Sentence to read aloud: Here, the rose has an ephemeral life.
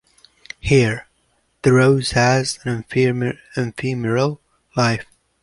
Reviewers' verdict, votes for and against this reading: rejected, 0, 2